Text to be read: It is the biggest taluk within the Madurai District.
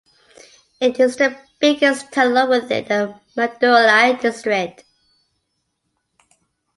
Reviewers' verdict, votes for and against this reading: accepted, 2, 1